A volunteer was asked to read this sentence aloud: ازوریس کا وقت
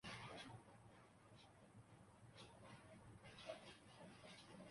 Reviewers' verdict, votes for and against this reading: rejected, 0, 2